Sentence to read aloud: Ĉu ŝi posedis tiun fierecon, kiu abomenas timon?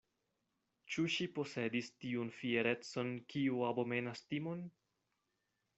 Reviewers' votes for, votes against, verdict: 2, 0, accepted